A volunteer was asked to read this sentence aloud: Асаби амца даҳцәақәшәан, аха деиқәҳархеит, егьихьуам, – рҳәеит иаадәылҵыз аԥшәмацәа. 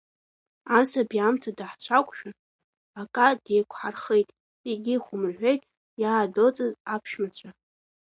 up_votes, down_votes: 1, 2